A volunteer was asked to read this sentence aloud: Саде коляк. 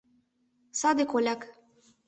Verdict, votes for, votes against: accepted, 2, 0